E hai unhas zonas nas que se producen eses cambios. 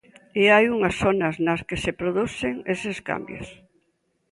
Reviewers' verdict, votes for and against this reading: accepted, 2, 0